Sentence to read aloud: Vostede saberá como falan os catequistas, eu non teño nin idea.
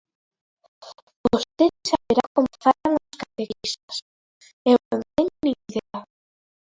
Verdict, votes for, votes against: rejected, 1, 3